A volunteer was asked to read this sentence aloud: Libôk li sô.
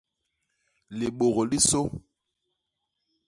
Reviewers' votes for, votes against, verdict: 1, 2, rejected